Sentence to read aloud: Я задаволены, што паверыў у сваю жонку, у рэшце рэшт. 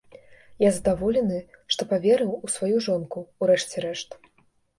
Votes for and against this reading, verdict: 2, 1, accepted